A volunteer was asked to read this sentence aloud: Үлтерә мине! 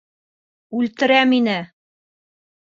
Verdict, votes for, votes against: accepted, 2, 0